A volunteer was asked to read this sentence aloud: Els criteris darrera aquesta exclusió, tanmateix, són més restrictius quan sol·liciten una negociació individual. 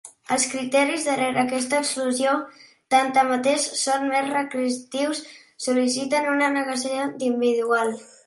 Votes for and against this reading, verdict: 0, 2, rejected